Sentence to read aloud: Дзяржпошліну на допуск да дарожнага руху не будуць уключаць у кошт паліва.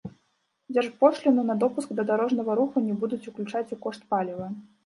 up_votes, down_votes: 1, 2